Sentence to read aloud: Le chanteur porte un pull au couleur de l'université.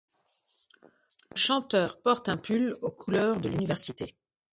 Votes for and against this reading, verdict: 1, 2, rejected